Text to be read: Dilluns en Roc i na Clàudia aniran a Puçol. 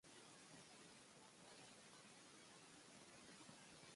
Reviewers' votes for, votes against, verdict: 0, 2, rejected